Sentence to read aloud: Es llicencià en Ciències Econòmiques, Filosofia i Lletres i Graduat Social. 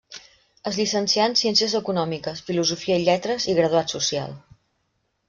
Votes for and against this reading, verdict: 3, 0, accepted